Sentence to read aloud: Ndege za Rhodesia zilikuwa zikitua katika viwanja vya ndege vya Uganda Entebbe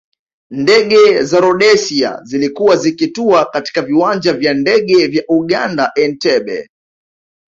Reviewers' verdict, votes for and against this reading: accepted, 2, 0